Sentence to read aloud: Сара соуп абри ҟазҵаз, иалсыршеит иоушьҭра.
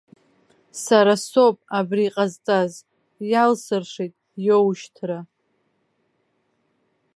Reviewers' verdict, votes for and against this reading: accepted, 2, 0